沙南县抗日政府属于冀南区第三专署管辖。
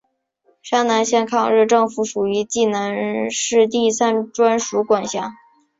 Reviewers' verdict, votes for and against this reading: accepted, 2, 0